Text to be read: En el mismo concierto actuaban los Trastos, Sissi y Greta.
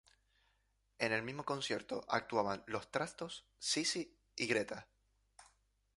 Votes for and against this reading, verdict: 2, 0, accepted